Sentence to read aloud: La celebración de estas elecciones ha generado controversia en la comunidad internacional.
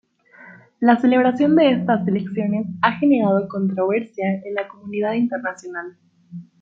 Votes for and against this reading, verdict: 0, 2, rejected